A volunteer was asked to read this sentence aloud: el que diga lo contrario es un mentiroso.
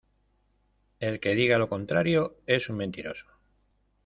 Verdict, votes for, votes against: accepted, 2, 0